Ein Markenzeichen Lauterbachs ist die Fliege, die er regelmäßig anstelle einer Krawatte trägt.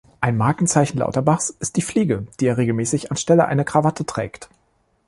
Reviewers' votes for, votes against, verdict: 2, 0, accepted